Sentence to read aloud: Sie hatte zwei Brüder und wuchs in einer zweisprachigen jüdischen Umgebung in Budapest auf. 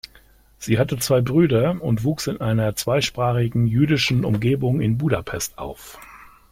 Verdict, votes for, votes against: accepted, 2, 0